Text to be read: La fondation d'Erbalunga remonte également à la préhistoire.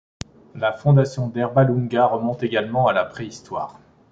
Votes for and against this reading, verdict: 2, 0, accepted